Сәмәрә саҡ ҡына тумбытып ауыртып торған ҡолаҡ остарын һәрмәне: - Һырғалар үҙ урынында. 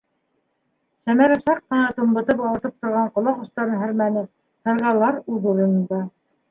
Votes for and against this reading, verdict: 3, 0, accepted